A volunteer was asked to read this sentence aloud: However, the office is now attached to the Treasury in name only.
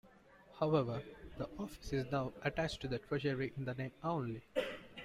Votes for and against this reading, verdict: 1, 2, rejected